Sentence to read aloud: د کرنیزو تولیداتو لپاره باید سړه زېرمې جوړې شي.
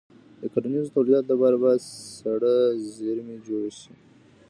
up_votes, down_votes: 1, 2